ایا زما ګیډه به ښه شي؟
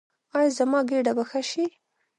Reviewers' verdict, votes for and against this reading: accepted, 2, 1